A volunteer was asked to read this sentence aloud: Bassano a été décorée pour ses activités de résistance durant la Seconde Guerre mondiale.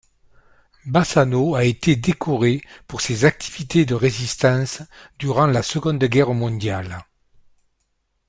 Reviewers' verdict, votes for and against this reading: accepted, 2, 0